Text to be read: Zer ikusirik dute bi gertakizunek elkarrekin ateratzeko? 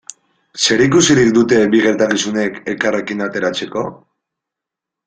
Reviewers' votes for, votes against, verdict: 2, 0, accepted